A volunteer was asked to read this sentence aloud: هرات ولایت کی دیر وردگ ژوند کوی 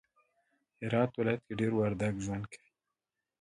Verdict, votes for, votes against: accepted, 2, 1